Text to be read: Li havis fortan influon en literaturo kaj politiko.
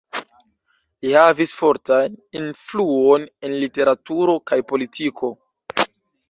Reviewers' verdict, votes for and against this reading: rejected, 0, 2